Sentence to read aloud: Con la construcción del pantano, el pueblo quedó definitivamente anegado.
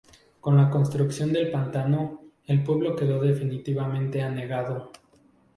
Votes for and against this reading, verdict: 4, 0, accepted